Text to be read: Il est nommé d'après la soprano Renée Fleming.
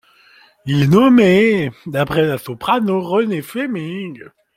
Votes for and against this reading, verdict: 1, 2, rejected